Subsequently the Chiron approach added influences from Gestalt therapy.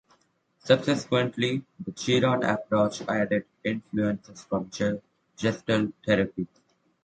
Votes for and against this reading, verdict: 1, 2, rejected